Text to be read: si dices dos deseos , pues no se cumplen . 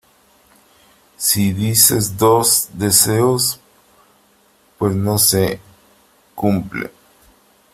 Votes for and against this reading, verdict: 3, 0, accepted